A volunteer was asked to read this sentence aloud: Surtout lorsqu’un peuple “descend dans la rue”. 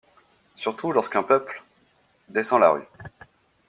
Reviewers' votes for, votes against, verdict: 0, 2, rejected